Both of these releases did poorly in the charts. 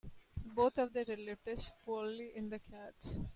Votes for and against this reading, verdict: 0, 2, rejected